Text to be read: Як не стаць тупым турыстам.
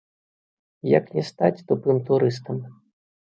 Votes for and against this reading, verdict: 2, 0, accepted